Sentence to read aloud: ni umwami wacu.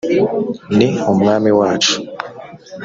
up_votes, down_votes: 2, 0